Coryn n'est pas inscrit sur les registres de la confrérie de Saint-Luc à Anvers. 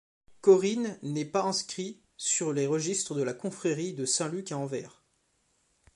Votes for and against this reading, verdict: 2, 0, accepted